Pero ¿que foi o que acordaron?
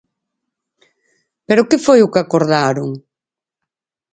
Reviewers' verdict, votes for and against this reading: accepted, 4, 0